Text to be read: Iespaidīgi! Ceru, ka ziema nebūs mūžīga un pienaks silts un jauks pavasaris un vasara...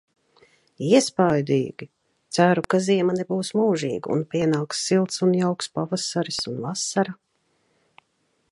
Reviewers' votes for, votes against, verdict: 2, 1, accepted